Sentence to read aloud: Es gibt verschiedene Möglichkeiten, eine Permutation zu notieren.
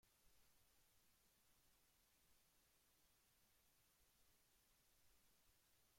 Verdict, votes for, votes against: rejected, 0, 2